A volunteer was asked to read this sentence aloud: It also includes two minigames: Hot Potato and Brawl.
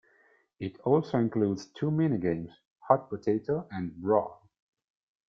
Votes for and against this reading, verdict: 2, 0, accepted